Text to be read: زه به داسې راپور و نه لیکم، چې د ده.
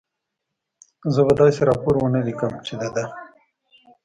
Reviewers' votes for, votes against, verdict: 0, 2, rejected